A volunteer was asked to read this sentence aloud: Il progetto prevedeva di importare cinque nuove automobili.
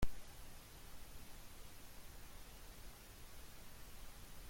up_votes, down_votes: 0, 2